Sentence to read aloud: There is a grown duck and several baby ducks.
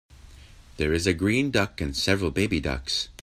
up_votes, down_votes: 0, 2